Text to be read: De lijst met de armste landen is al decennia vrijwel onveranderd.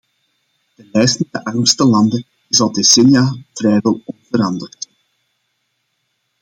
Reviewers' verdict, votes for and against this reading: rejected, 0, 2